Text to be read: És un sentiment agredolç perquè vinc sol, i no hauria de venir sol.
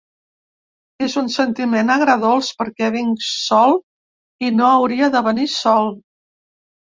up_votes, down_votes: 2, 0